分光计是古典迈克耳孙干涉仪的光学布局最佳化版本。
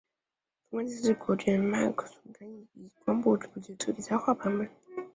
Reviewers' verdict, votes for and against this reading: rejected, 1, 2